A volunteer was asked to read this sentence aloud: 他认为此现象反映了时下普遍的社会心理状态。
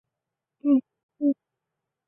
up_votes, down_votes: 0, 2